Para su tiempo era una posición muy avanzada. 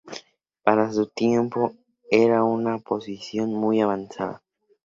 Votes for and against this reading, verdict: 2, 0, accepted